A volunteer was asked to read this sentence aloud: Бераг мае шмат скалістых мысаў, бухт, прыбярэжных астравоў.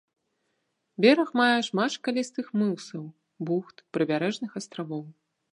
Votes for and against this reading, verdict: 0, 3, rejected